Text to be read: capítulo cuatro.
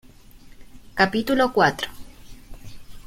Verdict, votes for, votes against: accepted, 2, 0